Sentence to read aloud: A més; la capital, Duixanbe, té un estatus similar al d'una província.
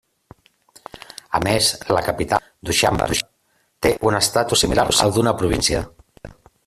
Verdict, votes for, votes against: rejected, 0, 2